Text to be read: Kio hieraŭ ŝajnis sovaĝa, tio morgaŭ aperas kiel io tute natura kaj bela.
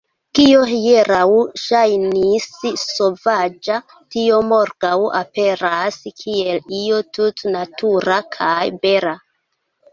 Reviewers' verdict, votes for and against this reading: rejected, 1, 3